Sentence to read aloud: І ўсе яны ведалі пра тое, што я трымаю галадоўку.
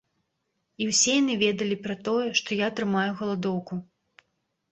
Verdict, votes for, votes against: accepted, 2, 0